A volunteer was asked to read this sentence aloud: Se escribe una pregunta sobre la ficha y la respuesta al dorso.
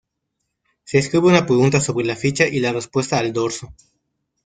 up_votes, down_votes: 2, 1